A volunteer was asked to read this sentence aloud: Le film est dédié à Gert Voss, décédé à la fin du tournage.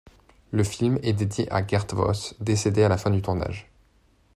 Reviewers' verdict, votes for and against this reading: accepted, 2, 0